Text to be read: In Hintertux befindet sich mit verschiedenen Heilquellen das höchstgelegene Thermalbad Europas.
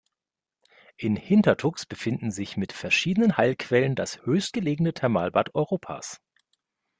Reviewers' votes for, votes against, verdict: 0, 2, rejected